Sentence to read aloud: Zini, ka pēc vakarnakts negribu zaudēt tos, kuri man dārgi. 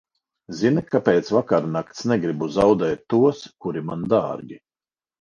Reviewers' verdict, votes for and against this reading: accepted, 4, 0